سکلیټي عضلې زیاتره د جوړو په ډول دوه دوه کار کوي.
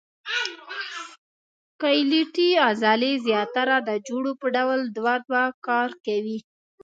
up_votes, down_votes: 0, 2